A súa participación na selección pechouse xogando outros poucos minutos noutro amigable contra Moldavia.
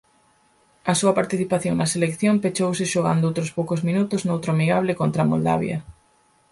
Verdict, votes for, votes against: accepted, 4, 0